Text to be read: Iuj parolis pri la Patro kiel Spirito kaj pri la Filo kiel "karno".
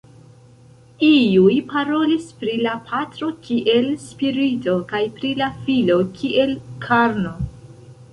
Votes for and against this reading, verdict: 1, 2, rejected